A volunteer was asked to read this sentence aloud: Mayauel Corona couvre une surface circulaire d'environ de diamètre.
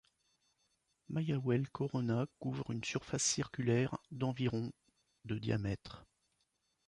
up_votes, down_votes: 2, 0